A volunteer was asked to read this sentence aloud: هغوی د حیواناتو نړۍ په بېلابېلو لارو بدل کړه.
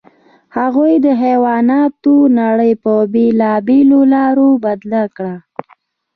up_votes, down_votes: 3, 0